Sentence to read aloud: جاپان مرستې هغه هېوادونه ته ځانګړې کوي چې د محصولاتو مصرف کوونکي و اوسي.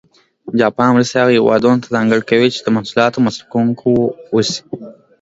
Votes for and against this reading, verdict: 2, 0, accepted